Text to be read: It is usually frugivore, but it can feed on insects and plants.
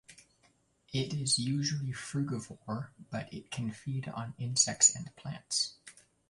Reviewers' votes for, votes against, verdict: 1, 2, rejected